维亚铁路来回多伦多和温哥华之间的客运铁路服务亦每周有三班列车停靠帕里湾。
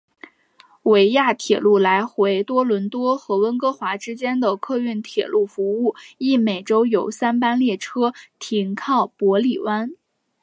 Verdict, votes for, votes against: accepted, 3, 0